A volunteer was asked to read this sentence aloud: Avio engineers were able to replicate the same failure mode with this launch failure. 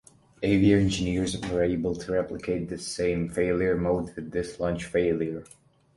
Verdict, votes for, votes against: accepted, 2, 0